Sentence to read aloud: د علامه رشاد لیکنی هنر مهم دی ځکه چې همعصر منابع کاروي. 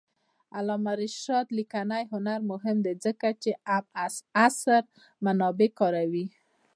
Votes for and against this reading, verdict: 0, 2, rejected